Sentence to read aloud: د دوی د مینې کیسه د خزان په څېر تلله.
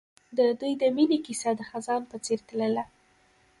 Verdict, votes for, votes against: rejected, 0, 2